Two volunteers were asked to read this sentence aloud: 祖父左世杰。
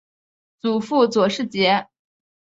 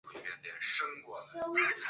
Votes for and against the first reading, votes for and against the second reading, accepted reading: 2, 0, 1, 3, first